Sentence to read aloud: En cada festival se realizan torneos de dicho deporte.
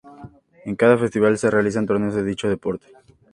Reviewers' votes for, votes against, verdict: 2, 0, accepted